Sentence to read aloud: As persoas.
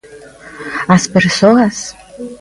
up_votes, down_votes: 2, 1